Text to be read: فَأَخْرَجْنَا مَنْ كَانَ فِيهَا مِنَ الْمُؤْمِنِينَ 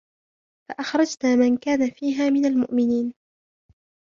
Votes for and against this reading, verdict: 2, 1, accepted